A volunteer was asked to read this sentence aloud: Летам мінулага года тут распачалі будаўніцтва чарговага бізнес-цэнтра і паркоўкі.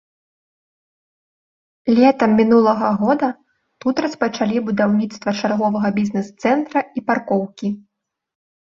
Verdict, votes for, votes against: accepted, 2, 0